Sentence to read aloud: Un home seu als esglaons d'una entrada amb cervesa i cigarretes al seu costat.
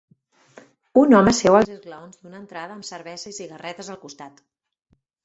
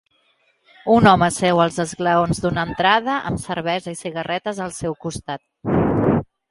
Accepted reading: second